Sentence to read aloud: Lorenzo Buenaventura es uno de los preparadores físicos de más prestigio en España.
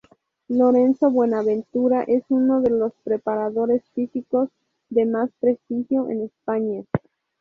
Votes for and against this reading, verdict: 0, 2, rejected